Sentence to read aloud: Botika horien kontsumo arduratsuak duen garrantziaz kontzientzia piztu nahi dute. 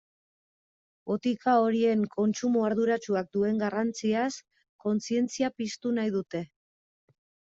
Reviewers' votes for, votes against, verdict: 2, 1, accepted